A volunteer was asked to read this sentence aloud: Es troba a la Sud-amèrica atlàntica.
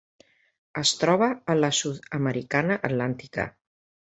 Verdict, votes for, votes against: rejected, 0, 2